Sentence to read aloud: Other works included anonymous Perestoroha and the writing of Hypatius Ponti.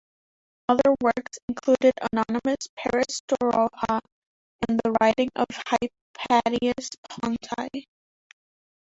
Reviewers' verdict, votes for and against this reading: rejected, 2, 3